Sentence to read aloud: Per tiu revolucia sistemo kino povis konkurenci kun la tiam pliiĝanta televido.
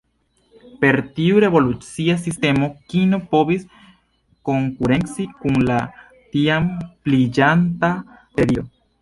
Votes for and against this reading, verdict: 2, 0, accepted